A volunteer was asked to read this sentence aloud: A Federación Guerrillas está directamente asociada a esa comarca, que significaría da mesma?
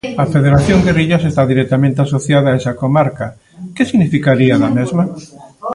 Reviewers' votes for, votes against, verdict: 0, 2, rejected